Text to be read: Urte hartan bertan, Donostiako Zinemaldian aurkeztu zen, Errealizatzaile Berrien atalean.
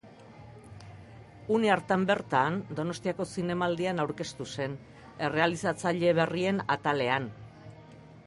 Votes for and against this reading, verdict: 0, 2, rejected